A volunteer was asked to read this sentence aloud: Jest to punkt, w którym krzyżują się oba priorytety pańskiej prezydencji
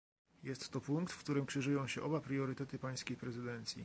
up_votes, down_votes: 1, 2